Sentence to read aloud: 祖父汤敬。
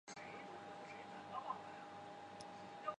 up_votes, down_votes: 0, 2